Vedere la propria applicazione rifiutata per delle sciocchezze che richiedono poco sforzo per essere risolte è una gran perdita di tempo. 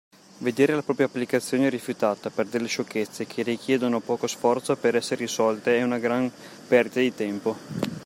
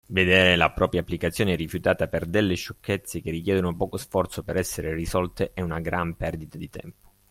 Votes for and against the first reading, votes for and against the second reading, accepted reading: 0, 2, 2, 0, second